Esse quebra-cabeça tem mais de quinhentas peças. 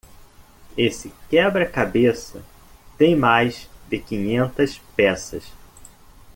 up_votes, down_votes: 2, 0